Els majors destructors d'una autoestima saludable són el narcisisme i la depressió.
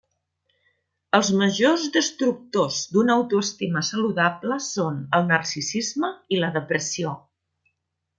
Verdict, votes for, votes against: accepted, 2, 0